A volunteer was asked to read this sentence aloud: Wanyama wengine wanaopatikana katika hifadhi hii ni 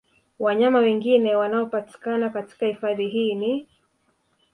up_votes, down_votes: 1, 2